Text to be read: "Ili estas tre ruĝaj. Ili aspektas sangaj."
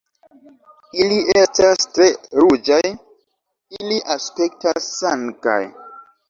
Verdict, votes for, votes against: accepted, 2, 1